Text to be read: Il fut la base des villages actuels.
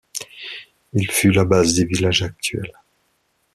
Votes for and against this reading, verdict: 2, 0, accepted